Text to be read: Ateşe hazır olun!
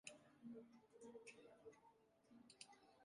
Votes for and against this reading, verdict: 0, 2, rejected